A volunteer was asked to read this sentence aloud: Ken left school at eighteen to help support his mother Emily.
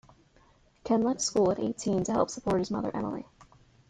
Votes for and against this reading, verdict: 2, 0, accepted